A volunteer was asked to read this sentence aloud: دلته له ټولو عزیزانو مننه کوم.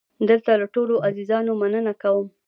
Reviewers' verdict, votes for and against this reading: accepted, 2, 0